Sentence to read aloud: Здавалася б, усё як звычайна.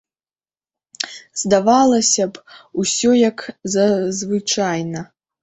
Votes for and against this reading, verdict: 1, 2, rejected